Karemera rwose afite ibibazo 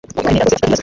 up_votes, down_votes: 1, 2